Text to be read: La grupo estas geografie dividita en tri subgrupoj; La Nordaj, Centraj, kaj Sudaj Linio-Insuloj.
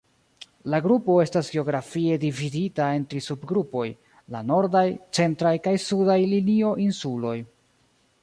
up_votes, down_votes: 0, 2